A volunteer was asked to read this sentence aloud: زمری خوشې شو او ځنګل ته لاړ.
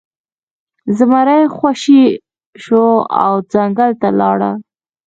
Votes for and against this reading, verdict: 0, 2, rejected